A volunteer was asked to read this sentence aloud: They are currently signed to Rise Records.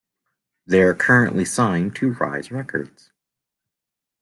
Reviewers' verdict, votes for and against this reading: accepted, 2, 0